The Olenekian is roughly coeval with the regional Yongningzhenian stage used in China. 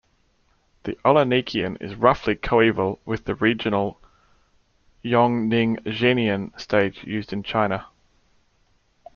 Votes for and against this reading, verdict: 1, 2, rejected